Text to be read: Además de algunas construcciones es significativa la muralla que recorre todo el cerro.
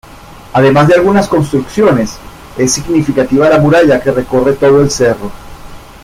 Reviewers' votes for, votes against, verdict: 2, 1, accepted